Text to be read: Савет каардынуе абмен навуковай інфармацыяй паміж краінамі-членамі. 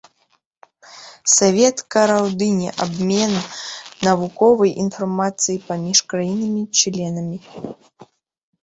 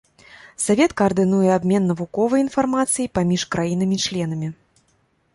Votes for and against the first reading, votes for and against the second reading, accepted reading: 0, 2, 2, 0, second